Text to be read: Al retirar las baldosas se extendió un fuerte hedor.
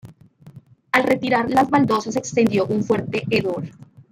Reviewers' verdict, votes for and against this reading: accepted, 2, 0